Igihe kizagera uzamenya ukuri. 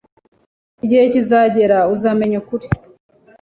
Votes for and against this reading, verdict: 2, 0, accepted